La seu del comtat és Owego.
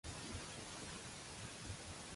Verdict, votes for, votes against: rejected, 0, 2